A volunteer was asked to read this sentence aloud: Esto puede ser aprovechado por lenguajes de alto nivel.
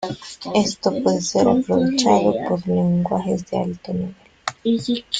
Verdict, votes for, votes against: accepted, 3, 1